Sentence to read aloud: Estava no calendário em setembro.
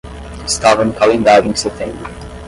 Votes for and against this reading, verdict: 5, 5, rejected